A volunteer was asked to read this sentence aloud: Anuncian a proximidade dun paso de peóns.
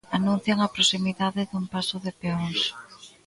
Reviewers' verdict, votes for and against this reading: rejected, 1, 2